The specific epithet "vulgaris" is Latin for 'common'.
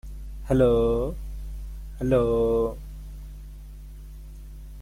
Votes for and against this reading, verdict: 0, 2, rejected